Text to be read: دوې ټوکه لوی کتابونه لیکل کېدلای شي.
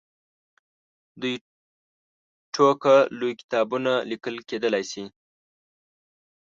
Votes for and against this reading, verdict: 0, 2, rejected